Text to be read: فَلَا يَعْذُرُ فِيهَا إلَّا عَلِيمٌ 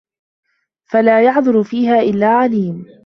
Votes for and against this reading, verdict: 2, 1, accepted